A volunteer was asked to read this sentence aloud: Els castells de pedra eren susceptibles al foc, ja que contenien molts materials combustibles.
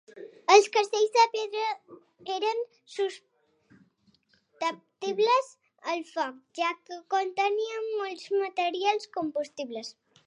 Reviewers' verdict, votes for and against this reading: rejected, 0, 2